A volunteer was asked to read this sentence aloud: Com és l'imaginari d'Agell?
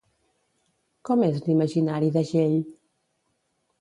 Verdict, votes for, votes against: accepted, 2, 0